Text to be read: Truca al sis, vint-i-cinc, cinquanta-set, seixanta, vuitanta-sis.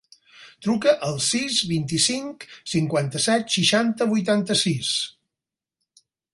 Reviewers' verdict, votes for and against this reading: accepted, 6, 0